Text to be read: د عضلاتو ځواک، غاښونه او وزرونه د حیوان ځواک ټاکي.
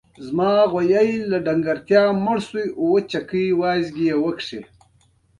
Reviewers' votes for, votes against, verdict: 1, 2, rejected